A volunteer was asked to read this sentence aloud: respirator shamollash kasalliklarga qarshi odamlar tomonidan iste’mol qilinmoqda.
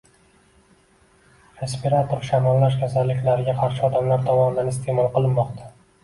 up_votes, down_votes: 2, 1